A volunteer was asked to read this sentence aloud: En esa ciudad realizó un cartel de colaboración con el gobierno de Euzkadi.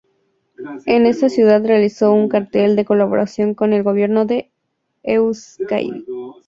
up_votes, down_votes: 2, 0